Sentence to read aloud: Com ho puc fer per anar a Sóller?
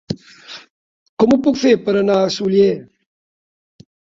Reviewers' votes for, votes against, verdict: 0, 2, rejected